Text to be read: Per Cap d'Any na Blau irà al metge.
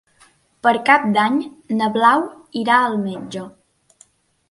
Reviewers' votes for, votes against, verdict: 3, 0, accepted